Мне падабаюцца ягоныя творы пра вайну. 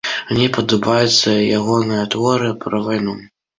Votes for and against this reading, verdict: 2, 0, accepted